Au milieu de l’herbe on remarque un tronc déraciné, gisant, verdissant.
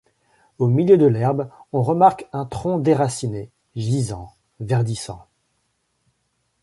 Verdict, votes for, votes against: accepted, 2, 0